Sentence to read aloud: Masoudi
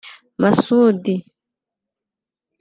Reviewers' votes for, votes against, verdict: 0, 2, rejected